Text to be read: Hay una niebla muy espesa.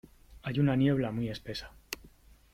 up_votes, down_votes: 3, 0